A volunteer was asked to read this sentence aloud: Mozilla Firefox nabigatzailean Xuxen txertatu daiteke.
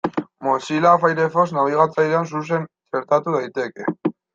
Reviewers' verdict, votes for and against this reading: rejected, 1, 2